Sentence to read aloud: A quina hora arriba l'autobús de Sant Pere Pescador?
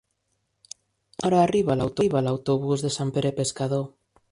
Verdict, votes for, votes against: rejected, 1, 2